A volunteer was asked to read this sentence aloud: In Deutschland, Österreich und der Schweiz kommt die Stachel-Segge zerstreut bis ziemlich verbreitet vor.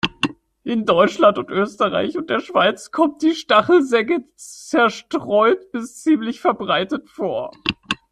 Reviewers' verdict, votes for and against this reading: rejected, 0, 2